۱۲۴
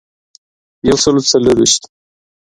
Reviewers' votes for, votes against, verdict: 0, 2, rejected